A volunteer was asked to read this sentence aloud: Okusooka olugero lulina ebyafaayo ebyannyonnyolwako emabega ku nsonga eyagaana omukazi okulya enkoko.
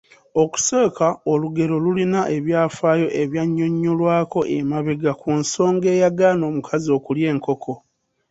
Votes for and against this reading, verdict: 2, 0, accepted